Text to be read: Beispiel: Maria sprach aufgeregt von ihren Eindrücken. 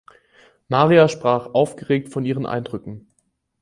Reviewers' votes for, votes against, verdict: 2, 4, rejected